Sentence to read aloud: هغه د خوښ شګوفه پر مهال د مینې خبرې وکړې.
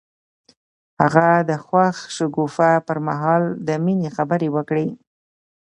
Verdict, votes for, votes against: accepted, 2, 0